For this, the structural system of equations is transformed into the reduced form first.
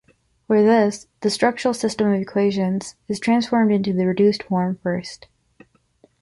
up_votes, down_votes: 2, 0